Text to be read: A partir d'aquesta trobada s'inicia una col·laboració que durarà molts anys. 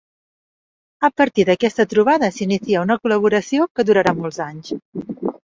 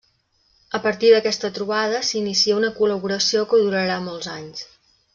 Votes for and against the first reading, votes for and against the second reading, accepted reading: 0, 2, 3, 0, second